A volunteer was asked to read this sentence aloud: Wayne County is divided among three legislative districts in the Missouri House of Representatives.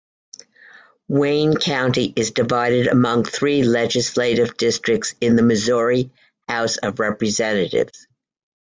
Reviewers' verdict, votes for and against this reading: accepted, 2, 0